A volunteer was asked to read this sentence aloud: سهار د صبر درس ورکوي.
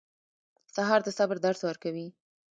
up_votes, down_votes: 1, 2